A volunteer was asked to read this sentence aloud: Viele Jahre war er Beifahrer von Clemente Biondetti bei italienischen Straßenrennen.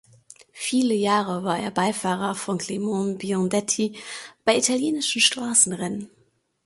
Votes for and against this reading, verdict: 1, 2, rejected